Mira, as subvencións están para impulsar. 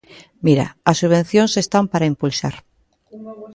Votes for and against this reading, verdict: 1, 2, rejected